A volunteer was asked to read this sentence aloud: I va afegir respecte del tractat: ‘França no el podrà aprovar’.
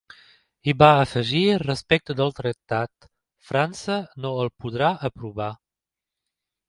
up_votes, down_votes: 2, 1